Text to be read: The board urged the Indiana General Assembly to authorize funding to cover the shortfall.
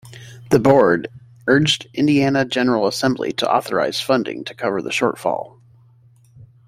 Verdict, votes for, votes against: rejected, 1, 2